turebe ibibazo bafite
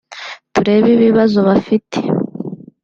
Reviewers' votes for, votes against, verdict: 2, 0, accepted